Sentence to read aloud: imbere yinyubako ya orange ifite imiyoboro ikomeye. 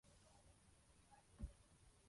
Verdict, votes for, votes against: rejected, 0, 2